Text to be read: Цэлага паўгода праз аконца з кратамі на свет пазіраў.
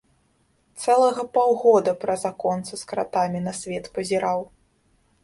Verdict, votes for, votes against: rejected, 0, 3